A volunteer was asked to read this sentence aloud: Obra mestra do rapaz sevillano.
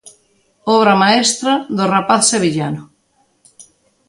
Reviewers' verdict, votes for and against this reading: rejected, 1, 2